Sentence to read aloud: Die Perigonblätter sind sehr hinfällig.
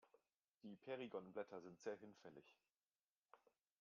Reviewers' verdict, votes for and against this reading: accepted, 2, 0